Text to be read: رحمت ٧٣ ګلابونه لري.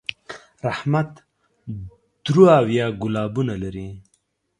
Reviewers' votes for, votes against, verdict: 0, 2, rejected